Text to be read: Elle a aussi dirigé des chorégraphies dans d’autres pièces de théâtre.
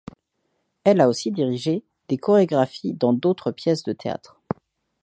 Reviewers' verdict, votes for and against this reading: accepted, 2, 0